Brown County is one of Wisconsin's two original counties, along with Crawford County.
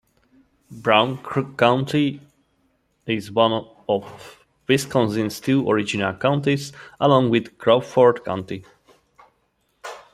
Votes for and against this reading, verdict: 1, 2, rejected